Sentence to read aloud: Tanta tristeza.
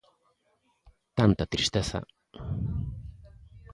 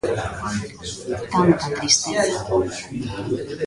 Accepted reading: first